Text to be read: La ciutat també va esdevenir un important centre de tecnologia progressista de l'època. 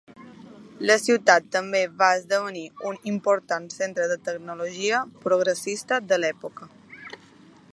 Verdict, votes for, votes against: accepted, 2, 0